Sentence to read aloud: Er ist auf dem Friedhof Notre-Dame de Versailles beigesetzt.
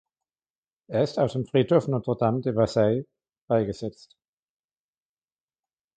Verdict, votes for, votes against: accepted, 3, 0